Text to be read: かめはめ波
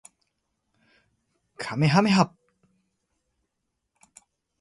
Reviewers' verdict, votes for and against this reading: accepted, 2, 0